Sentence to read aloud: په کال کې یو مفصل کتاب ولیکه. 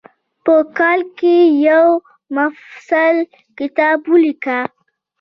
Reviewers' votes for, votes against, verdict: 2, 0, accepted